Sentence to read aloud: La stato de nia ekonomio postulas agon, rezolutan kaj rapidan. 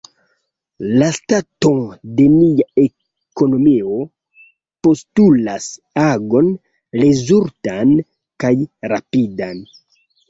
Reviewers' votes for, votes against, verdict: 2, 1, accepted